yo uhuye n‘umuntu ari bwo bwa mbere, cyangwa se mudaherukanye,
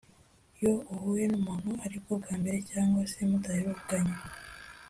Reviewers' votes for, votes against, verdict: 2, 0, accepted